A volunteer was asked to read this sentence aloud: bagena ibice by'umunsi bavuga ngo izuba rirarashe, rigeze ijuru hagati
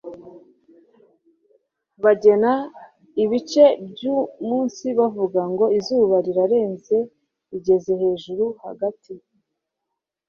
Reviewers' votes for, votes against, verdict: 1, 2, rejected